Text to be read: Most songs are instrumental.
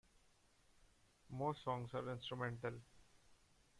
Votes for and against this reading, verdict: 1, 2, rejected